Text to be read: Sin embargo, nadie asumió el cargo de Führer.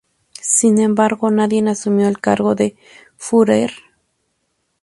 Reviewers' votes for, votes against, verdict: 2, 2, rejected